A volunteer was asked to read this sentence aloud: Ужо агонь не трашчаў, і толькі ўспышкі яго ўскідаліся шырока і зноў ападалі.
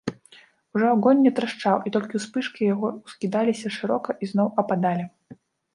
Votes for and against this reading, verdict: 1, 2, rejected